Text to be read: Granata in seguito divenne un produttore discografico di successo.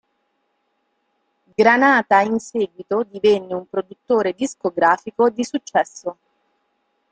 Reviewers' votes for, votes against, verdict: 2, 0, accepted